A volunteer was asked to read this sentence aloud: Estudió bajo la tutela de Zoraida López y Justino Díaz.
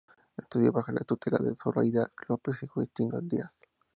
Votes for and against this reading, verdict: 0, 2, rejected